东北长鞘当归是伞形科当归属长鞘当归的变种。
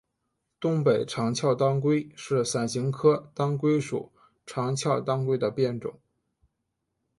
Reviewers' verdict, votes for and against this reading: accepted, 2, 0